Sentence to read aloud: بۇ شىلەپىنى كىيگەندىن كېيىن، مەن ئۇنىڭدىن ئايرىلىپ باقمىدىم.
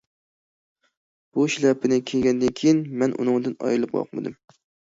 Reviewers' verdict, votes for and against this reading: accepted, 2, 0